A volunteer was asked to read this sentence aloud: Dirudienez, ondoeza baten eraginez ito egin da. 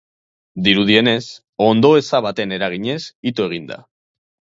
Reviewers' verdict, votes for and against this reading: accepted, 4, 0